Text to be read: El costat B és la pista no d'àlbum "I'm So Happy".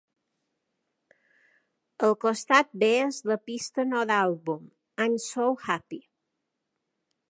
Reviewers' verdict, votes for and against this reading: accepted, 2, 0